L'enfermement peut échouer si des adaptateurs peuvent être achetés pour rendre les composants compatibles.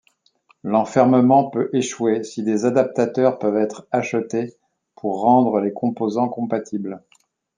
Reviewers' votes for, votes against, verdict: 2, 0, accepted